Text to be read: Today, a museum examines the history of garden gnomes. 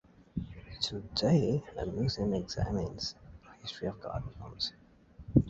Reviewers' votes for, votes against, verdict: 1, 2, rejected